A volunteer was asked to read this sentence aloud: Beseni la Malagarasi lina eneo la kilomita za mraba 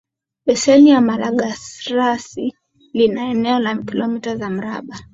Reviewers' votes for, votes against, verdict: 7, 0, accepted